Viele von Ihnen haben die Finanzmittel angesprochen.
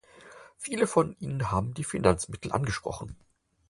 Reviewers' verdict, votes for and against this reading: accepted, 4, 0